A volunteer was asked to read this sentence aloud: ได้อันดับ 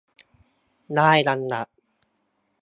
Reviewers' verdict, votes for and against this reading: accepted, 2, 0